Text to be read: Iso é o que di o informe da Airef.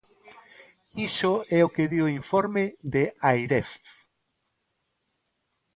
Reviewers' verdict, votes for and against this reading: rejected, 1, 2